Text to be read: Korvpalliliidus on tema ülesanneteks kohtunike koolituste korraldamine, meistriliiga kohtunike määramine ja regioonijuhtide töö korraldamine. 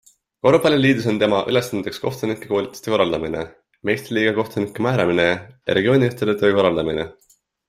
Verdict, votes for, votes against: accepted, 2, 1